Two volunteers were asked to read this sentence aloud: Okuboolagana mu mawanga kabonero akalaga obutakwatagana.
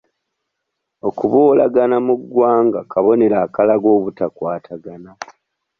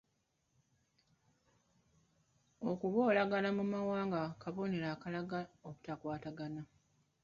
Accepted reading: second